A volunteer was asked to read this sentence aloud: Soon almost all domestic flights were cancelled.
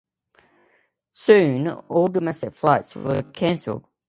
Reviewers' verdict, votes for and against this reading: rejected, 0, 2